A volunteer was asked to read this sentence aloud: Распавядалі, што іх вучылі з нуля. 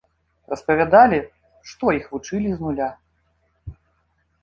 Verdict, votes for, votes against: rejected, 0, 2